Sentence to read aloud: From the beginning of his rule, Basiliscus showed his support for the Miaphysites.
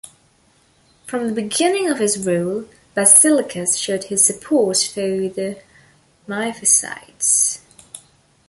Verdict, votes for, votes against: accepted, 2, 1